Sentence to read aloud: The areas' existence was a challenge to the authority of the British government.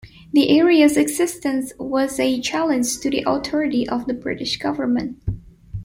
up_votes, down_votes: 2, 0